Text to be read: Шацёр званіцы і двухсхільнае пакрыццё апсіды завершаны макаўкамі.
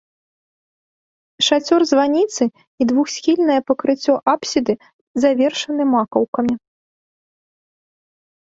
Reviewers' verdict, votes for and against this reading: accepted, 2, 0